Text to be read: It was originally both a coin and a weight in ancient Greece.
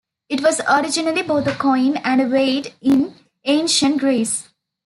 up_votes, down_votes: 2, 0